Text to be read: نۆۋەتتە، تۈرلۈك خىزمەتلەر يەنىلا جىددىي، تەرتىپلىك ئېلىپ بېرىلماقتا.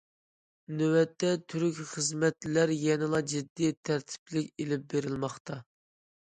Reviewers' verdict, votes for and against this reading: rejected, 0, 2